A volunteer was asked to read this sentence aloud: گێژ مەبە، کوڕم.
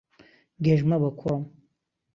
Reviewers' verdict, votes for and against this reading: accepted, 2, 0